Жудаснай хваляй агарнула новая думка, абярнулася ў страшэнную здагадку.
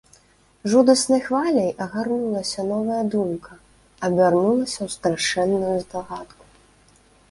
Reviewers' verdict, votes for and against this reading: rejected, 1, 2